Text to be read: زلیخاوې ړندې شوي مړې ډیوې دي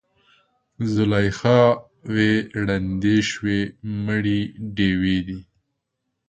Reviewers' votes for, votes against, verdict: 2, 3, rejected